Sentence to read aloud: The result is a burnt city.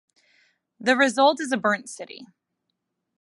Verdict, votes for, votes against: accepted, 2, 1